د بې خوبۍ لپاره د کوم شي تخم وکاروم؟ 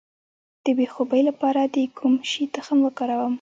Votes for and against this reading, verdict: 2, 0, accepted